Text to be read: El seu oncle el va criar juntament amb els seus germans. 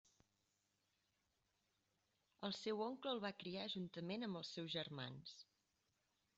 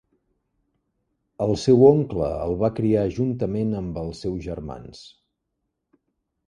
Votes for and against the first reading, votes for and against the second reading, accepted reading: 0, 2, 3, 0, second